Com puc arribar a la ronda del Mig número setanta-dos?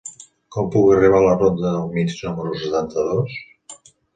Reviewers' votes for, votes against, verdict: 2, 0, accepted